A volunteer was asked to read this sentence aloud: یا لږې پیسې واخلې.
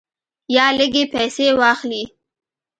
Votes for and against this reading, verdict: 2, 0, accepted